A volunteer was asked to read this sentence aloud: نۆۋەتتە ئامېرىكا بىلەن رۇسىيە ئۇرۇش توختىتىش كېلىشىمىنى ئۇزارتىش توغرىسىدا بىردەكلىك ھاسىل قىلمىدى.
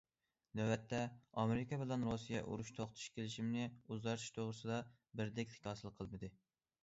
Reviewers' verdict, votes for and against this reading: accepted, 2, 1